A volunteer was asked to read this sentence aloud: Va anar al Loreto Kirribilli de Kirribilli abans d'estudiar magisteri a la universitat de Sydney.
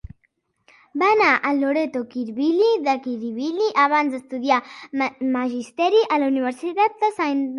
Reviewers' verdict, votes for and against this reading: rejected, 0, 2